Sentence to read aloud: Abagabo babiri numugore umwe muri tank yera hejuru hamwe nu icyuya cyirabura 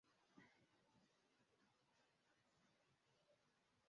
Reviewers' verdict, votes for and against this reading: rejected, 0, 2